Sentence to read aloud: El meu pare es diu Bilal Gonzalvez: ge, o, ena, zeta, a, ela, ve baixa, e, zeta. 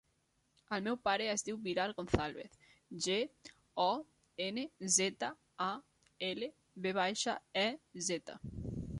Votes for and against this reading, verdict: 0, 2, rejected